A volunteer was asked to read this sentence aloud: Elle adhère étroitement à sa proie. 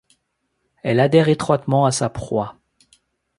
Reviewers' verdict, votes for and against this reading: accepted, 2, 0